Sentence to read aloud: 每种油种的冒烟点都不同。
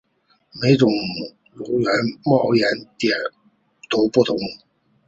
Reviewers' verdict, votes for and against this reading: accepted, 3, 0